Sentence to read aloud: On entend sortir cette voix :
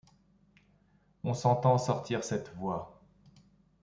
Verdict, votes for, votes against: rejected, 0, 2